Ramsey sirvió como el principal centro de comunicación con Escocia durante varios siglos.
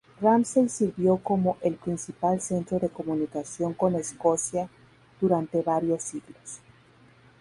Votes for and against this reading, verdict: 2, 2, rejected